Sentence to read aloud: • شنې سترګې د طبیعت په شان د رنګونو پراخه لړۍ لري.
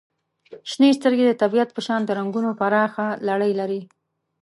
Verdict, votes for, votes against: accepted, 2, 0